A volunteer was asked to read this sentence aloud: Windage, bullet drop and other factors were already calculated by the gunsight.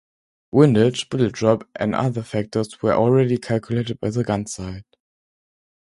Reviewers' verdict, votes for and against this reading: accepted, 2, 0